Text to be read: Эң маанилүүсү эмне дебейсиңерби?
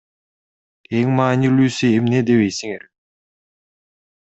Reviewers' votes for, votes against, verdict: 0, 2, rejected